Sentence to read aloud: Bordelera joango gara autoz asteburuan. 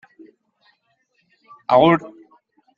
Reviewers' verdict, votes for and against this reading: rejected, 0, 2